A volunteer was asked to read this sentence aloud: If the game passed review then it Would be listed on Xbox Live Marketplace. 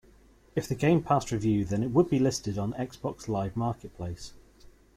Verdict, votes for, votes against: rejected, 1, 2